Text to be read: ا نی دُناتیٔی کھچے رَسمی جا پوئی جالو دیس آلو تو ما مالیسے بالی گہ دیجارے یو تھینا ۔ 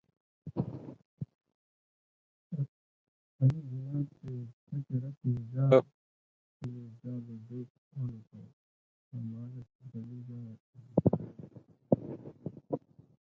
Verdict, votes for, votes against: rejected, 0, 2